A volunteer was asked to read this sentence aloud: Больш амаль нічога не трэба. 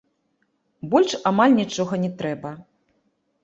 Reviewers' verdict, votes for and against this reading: rejected, 0, 2